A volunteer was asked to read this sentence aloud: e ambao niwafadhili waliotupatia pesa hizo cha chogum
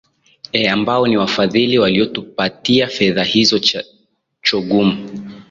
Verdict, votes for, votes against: accepted, 3, 0